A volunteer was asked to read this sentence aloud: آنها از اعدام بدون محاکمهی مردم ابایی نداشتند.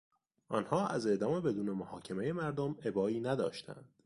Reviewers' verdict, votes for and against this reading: accepted, 2, 0